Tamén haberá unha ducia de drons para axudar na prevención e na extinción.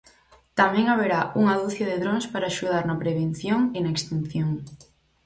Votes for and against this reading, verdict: 4, 0, accepted